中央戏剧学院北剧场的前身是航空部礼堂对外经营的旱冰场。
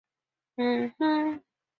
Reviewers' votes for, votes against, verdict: 0, 2, rejected